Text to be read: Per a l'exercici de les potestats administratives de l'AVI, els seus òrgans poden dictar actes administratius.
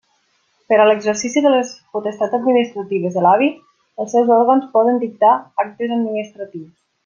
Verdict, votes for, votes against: rejected, 0, 2